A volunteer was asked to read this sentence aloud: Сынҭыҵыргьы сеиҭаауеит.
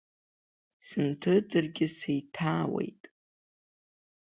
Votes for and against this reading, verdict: 2, 0, accepted